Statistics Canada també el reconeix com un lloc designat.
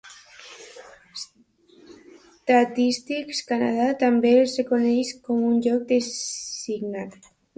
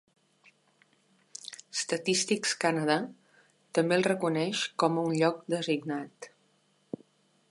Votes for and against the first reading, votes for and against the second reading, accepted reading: 0, 2, 3, 0, second